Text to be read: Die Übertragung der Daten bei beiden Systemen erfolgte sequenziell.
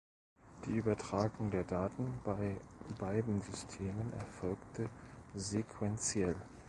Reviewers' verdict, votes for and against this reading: rejected, 1, 2